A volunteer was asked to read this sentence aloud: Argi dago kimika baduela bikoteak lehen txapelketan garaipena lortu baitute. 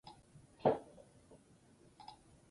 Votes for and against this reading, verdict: 2, 10, rejected